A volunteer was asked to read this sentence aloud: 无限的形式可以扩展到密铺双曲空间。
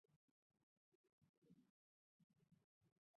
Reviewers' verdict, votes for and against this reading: rejected, 0, 3